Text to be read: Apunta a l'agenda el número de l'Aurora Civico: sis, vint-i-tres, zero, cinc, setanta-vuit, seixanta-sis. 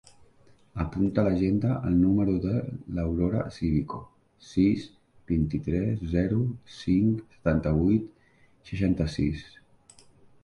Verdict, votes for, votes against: accepted, 3, 0